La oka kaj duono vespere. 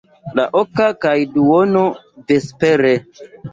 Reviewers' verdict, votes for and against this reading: accepted, 2, 0